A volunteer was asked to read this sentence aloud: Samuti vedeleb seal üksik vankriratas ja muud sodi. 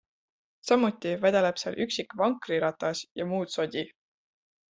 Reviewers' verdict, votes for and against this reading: accepted, 2, 0